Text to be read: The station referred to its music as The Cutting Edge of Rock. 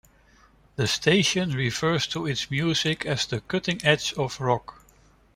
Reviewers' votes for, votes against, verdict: 1, 2, rejected